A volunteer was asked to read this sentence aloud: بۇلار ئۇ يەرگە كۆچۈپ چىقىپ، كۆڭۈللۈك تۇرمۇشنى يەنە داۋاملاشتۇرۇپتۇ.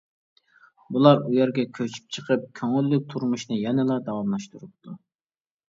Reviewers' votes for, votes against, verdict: 0, 2, rejected